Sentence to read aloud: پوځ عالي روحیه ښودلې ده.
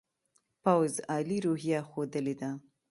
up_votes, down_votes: 2, 0